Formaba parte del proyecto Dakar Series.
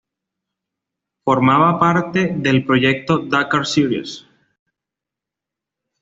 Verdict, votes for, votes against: accepted, 2, 0